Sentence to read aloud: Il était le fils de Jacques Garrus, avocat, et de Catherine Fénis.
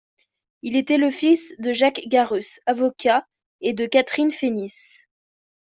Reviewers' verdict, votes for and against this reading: accepted, 2, 0